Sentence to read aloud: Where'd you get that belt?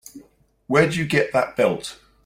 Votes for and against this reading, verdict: 3, 0, accepted